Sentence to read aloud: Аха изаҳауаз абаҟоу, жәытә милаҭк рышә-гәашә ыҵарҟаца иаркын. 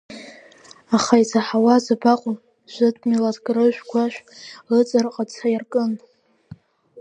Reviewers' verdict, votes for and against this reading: accepted, 2, 0